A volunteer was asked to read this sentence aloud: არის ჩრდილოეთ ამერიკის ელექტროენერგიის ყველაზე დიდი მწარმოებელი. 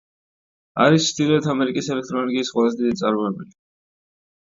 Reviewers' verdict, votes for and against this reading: rejected, 1, 2